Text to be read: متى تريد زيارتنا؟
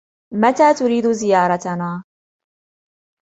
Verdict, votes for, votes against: accepted, 2, 0